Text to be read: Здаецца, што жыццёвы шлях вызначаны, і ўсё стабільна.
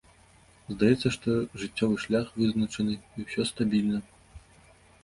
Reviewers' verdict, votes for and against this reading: accepted, 2, 0